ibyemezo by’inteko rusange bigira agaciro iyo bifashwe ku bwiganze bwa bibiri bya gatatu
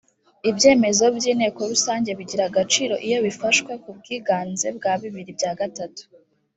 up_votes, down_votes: 2, 0